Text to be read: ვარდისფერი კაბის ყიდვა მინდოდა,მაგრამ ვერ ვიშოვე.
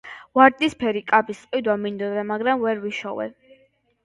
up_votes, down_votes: 2, 0